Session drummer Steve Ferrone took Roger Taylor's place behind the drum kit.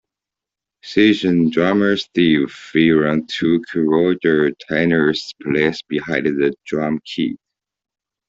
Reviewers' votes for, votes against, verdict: 1, 2, rejected